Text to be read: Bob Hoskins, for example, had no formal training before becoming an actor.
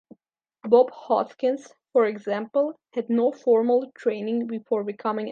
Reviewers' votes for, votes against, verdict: 0, 2, rejected